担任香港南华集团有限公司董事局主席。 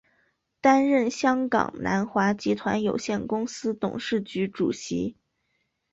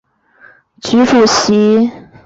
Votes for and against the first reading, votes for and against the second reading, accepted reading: 2, 0, 0, 2, first